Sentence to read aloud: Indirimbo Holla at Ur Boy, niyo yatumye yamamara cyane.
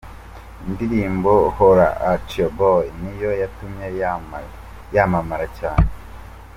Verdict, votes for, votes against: rejected, 1, 2